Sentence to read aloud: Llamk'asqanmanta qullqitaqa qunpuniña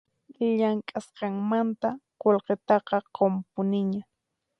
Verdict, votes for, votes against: accepted, 4, 0